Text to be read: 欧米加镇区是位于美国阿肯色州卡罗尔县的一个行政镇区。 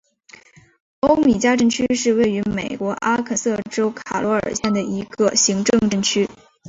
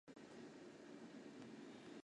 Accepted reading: first